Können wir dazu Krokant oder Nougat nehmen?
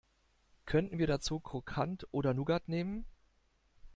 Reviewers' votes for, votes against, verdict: 2, 0, accepted